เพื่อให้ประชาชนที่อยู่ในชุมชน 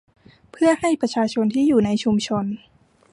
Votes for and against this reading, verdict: 2, 0, accepted